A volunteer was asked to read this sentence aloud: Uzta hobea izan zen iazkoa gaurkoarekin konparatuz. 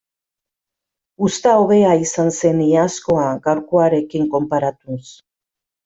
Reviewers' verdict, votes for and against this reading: accepted, 2, 0